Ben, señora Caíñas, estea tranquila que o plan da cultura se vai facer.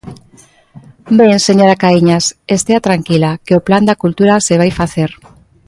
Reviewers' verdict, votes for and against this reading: accepted, 2, 0